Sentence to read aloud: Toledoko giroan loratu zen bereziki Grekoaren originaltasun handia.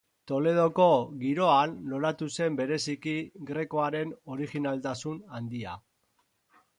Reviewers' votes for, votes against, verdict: 4, 2, accepted